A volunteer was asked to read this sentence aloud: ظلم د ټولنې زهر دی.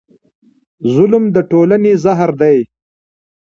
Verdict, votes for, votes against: accepted, 2, 1